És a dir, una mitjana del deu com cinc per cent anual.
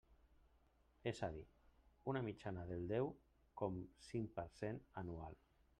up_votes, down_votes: 1, 2